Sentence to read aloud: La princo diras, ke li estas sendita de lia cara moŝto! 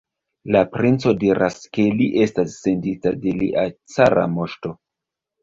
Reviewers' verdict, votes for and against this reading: rejected, 1, 2